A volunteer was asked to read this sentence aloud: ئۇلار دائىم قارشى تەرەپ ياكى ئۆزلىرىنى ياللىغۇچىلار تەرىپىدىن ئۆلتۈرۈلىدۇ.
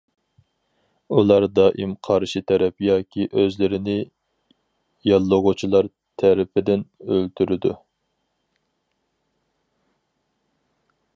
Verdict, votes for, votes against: rejected, 0, 4